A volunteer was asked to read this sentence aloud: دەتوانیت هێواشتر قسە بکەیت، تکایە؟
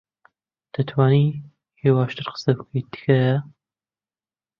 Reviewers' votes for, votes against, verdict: 1, 2, rejected